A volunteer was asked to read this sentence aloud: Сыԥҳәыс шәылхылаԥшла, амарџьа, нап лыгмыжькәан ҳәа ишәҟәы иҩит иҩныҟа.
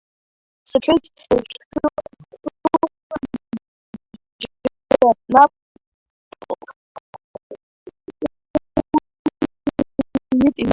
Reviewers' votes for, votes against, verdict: 0, 2, rejected